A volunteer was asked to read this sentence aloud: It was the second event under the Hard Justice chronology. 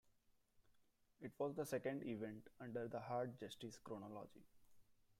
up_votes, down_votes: 0, 2